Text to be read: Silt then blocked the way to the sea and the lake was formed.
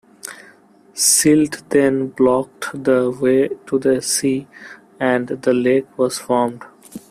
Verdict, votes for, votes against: accepted, 2, 1